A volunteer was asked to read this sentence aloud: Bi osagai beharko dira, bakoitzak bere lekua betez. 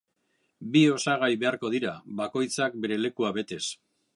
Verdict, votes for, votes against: accepted, 2, 0